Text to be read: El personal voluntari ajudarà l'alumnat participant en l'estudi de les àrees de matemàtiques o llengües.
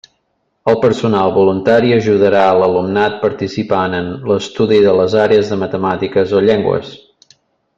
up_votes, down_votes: 2, 0